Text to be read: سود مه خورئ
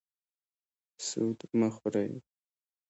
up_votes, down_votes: 2, 0